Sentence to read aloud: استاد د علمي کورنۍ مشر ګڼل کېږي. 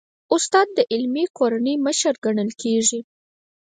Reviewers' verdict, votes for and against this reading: rejected, 0, 4